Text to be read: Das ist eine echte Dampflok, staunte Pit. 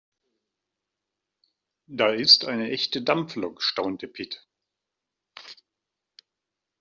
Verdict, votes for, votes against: rejected, 0, 2